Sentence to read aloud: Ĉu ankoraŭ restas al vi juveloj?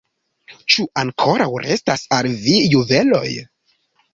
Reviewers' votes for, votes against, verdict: 1, 2, rejected